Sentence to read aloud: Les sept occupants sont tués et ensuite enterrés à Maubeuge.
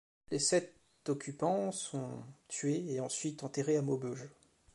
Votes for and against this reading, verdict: 0, 2, rejected